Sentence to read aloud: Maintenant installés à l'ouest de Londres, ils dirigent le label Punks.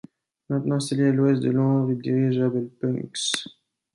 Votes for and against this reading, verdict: 0, 2, rejected